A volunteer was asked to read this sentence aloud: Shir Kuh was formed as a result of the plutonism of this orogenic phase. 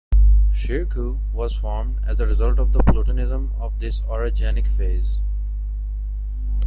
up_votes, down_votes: 2, 0